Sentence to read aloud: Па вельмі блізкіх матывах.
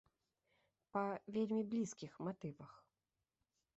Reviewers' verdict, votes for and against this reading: accepted, 2, 0